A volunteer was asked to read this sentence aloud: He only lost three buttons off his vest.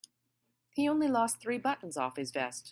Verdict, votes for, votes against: accepted, 3, 0